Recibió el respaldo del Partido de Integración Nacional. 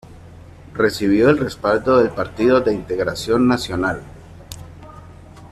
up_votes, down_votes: 2, 0